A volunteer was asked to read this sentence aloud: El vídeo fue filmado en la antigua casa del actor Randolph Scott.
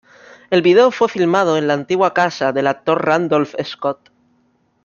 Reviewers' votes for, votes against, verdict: 1, 2, rejected